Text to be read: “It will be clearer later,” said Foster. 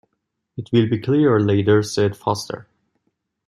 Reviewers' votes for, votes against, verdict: 2, 0, accepted